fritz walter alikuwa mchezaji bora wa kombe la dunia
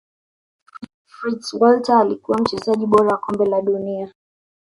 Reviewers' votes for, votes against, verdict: 1, 2, rejected